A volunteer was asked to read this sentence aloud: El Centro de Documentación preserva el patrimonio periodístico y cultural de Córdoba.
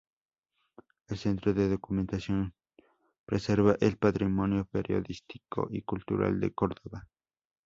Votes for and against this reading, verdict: 2, 0, accepted